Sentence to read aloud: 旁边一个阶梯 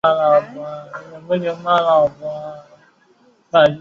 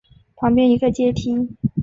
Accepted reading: second